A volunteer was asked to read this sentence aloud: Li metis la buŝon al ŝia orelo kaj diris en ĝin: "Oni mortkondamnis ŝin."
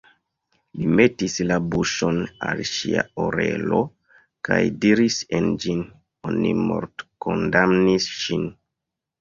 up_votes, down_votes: 1, 2